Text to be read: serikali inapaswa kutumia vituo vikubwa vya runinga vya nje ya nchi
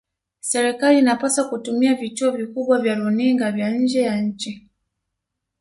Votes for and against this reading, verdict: 0, 2, rejected